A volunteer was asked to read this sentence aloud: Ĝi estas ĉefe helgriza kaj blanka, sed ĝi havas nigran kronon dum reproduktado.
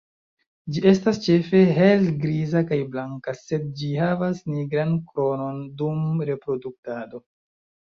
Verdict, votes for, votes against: accepted, 2, 1